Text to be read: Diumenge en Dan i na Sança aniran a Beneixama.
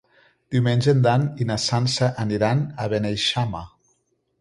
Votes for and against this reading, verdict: 2, 0, accepted